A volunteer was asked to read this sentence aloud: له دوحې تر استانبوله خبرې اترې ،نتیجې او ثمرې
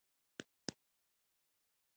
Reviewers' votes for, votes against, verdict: 2, 3, rejected